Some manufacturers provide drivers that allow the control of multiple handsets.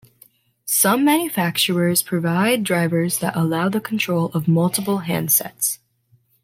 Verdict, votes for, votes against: accepted, 2, 0